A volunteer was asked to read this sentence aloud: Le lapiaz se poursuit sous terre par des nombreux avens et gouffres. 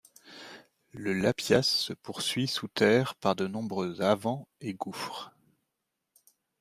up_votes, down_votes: 1, 2